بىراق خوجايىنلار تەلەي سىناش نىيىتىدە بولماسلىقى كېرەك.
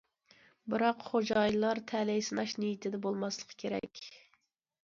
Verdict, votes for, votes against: accepted, 2, 0